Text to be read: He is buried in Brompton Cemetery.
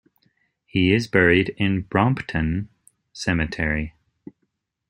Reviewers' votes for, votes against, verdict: 2, 0, accepted